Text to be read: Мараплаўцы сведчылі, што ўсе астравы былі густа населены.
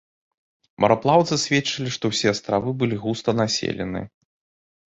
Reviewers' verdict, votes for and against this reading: accepted, 2, 0